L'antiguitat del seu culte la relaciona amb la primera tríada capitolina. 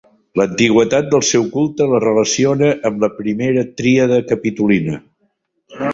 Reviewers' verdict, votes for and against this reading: rejected, 0, 2